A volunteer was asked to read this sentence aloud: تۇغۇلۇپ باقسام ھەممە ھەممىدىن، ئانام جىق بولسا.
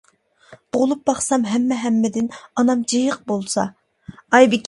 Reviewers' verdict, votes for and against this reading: rejected, 0, 2